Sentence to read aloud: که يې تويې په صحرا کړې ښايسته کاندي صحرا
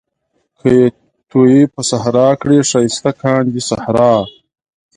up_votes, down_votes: 2, 0